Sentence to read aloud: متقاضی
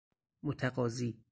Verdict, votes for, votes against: accepted, 6, 0